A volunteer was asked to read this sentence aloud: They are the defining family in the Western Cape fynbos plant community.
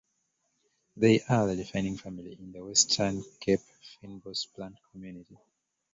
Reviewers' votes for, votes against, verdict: 0, 2, rejected